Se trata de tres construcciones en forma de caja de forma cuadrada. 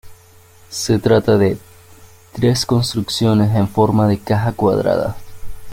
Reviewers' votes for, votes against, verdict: 1, 2, rejected